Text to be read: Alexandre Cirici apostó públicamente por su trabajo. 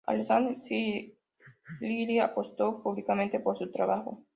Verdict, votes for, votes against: rejected, 1, 2